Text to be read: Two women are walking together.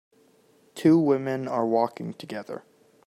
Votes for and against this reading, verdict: 3, 0, accepted